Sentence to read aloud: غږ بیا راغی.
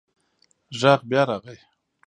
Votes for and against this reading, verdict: 1, 2, rejected